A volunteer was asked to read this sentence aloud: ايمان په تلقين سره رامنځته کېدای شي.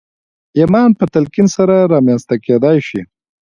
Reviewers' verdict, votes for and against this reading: accepted, 2, 1